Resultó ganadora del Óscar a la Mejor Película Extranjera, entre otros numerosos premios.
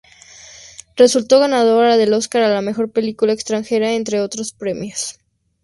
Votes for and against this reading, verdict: 0, 2, rejected